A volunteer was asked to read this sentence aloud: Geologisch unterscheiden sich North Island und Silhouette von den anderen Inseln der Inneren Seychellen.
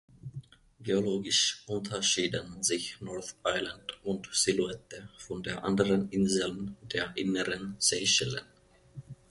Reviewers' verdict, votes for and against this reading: rejected, 0, 2